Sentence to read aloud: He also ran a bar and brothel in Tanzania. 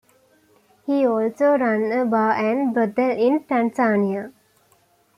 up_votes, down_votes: 2, 0